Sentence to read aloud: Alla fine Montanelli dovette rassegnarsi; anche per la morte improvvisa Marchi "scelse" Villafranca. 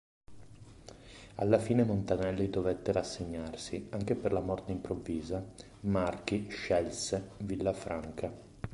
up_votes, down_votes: 3, 0